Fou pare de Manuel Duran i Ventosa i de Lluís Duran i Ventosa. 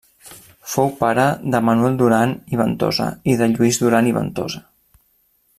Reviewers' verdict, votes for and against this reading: accepted, 3, 0